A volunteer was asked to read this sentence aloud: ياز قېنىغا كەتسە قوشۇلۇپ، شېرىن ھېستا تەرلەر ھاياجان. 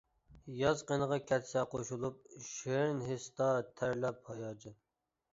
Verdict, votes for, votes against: rejected, 1, 2